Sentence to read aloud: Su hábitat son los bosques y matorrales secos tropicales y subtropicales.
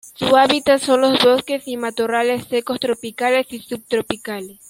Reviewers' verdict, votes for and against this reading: rejected, 1, 2